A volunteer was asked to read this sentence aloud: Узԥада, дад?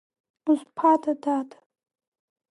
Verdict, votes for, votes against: accepted, 2, 0